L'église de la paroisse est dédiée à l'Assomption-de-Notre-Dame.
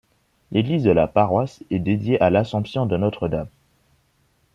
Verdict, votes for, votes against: accepted, 2, 0